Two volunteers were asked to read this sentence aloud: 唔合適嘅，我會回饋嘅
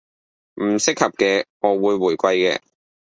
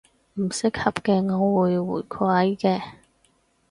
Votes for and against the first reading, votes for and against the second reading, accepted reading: 1, 2, 4, 2, second